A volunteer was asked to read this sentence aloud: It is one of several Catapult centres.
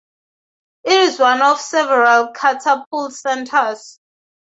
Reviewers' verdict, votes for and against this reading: accepted, 2, 0